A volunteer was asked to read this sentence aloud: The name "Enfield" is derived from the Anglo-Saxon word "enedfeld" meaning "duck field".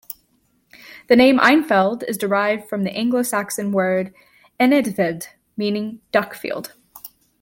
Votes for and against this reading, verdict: 1, 2, rejected